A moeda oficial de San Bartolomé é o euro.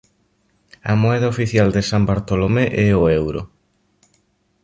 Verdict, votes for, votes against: accepted, 2, 0